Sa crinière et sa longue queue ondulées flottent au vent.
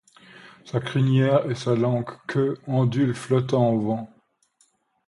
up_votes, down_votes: 1, 2